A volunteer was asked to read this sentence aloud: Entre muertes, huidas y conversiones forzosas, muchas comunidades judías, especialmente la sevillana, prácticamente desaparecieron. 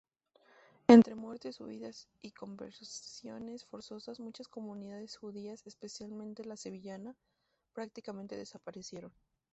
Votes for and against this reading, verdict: 0, 2, rejected